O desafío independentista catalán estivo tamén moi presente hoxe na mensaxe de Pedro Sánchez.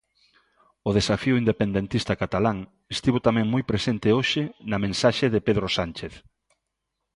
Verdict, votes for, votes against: accepted, 2, 0